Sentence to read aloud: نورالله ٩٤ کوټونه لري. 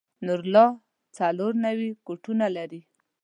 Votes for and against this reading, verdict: 0, 2, rejected